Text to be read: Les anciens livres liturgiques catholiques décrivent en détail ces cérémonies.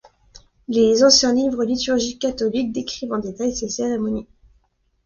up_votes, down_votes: 2, 0